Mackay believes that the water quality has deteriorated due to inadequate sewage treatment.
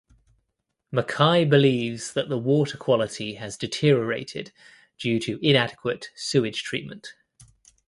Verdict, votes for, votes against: accepted, 2, 0